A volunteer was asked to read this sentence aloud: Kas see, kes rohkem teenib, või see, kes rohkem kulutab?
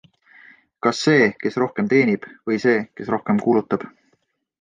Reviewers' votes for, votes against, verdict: 2, 0, accepted